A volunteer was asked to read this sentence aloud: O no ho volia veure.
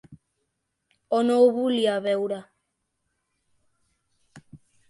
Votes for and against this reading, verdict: 2, 0, accepted